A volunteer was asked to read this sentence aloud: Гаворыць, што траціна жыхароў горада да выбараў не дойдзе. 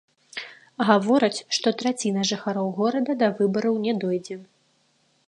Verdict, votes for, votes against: rejected, 1, 2